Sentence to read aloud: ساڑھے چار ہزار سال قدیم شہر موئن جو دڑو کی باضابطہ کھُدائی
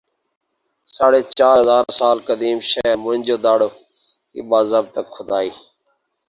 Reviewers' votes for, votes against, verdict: 2, 0, accepted